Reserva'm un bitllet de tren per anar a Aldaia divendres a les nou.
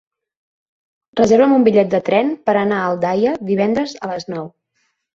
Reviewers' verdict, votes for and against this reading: rejected, 3, 6